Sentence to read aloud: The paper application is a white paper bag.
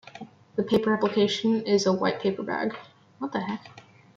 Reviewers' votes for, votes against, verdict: 1, 2, rejected